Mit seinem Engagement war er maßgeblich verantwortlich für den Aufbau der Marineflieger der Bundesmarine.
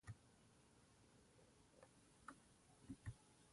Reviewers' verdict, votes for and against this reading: rejected, 0, 2